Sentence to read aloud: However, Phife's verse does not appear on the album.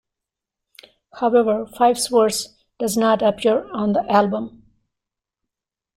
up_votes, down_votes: 0, 2